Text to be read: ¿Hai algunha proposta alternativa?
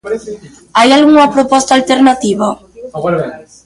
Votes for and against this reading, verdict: 1, 3, rejected